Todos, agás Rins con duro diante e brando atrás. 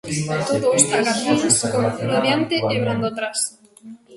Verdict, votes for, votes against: rejected, 0, 2